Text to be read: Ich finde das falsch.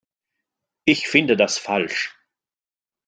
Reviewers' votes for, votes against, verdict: 2, 0, accepted